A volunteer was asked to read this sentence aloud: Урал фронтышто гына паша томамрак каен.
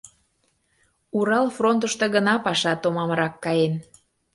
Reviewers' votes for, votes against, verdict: 2, 0, accepted